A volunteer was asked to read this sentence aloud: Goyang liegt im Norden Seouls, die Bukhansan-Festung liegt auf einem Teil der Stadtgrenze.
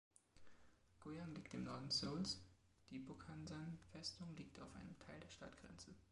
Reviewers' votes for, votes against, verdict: 2, 1, accepted